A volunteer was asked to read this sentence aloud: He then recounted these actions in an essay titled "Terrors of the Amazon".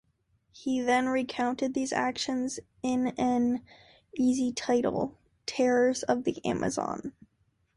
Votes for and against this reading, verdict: 0, 2, rejected